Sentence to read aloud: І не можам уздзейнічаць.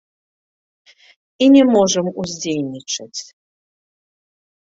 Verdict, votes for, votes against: accepted, 2, 0